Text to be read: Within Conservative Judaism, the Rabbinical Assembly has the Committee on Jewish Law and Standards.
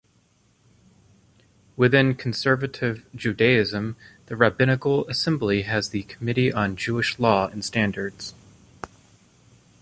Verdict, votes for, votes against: accepted, 2, 0